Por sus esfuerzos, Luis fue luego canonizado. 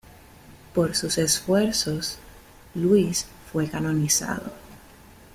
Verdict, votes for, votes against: rejected, 1, 2